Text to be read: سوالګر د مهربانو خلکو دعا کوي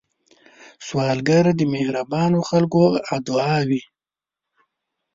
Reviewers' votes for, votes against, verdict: 1, 2, rejected